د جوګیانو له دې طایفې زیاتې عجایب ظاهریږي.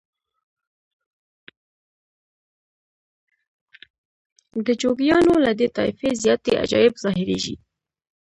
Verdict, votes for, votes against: rejected, 0, 2